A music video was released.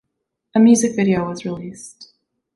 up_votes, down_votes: 2, 0